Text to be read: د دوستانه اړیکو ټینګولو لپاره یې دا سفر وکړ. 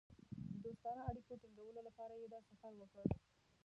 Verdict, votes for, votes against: rejected, 1, 2